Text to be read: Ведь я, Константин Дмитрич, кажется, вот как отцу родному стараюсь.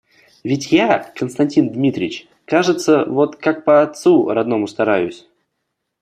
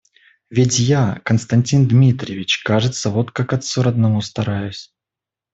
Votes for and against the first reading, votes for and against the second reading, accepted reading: 0, 2, 2, 0, second